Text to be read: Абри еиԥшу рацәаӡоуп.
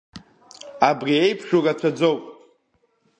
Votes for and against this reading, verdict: 2, 0, accepted